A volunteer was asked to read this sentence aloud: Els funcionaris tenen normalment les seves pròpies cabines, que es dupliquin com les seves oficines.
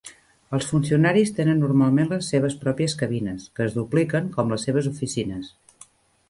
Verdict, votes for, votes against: rejected, 1, 2